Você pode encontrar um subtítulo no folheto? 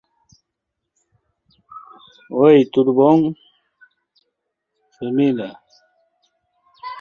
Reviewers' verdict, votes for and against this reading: rejected, 0, 2